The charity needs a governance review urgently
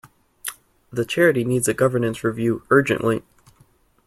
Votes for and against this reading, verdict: 2, 0, accepted